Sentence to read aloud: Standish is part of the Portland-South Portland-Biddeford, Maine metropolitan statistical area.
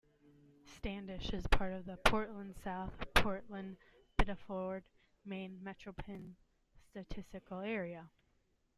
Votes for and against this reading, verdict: 1, 2, rejected